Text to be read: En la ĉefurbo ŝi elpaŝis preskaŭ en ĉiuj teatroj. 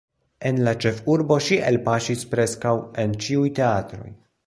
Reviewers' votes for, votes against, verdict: 2, 1, accepted